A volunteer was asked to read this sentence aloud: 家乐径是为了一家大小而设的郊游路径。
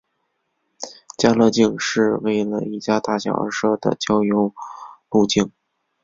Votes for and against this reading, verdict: 2, 1, accepted